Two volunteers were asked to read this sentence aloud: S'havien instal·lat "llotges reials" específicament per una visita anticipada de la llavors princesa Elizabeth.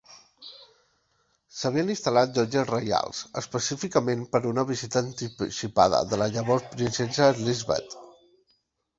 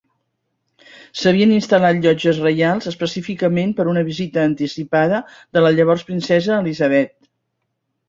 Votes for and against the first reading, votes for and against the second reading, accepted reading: 1, 2, 3, 0, second